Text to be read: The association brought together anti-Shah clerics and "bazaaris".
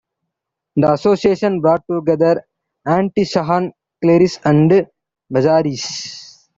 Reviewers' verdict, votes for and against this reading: rejected, 0, 2